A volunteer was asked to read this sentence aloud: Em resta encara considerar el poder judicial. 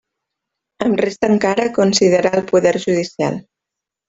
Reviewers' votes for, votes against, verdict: 1, 2, rejected